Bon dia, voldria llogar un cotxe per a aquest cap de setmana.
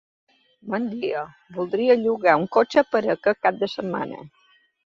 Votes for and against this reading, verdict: 2, 0, accepted